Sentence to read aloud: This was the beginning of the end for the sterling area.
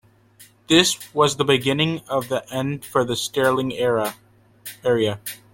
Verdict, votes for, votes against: rejected, 1, 2